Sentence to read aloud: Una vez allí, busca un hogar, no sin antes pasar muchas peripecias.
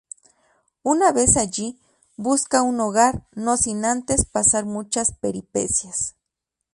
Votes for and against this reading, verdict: 2, 0, accepted